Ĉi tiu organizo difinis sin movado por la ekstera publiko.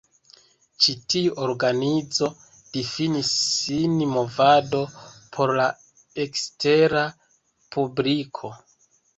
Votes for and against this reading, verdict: 2, 0, accepted